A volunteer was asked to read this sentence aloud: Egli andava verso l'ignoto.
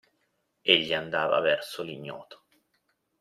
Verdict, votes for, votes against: accepted, 2, 0